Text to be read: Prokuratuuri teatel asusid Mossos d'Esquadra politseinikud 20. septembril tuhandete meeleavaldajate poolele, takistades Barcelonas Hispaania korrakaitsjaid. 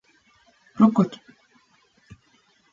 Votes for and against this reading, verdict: 0, 2, rejected